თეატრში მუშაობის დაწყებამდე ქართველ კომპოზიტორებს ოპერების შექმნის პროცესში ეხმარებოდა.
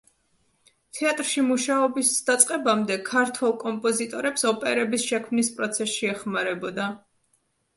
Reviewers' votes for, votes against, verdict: 2, 0, accepted